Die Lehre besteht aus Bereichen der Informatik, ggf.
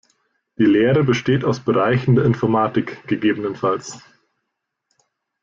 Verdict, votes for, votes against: accepted, 2, 0